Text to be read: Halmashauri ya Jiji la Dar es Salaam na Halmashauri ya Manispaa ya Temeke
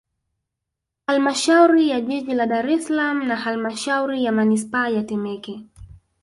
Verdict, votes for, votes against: accepted, 2, 0